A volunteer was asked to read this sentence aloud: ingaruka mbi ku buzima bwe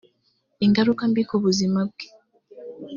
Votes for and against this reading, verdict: 3, 0, accepted